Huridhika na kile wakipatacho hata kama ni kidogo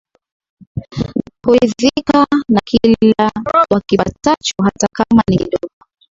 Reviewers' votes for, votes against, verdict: 1, 2, rejected